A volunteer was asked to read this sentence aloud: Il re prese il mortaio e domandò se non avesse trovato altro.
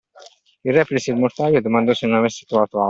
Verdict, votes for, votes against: rejected, 0, 2